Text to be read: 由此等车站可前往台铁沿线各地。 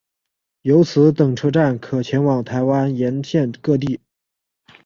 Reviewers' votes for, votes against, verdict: 1, 2, rejected